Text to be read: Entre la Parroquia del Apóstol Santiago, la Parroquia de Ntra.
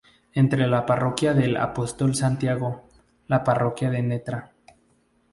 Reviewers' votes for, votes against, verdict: 0, 2, rejected